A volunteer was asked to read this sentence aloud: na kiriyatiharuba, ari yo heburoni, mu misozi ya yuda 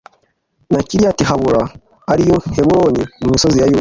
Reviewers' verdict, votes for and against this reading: rejected, 1, 2